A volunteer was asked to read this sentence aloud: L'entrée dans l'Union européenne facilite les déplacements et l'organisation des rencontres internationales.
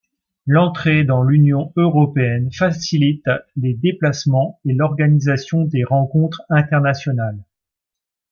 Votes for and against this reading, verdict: 2, 0, accepted